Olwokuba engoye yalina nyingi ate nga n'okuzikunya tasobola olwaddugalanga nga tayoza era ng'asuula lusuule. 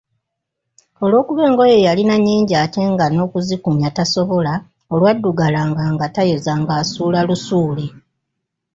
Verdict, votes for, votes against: accepted, 2, 0